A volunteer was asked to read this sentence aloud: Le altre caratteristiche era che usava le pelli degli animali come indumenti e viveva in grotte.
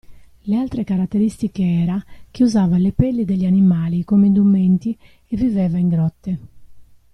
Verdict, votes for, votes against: rejected, 1, 2